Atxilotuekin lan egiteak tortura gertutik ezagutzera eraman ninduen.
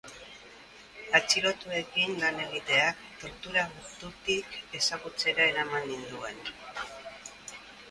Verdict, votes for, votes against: accepted, 2, 0